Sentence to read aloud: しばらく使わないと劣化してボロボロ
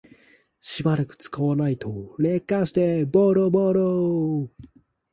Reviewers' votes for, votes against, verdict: 0, 2, rejected